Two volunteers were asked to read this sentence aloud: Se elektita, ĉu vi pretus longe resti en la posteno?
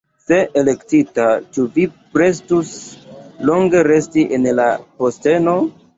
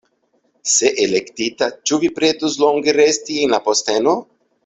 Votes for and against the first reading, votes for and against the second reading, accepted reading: 0, 2, 2, 0, second